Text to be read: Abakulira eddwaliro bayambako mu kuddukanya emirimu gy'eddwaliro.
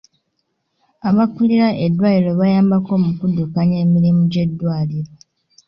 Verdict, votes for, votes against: accepted, 2, 0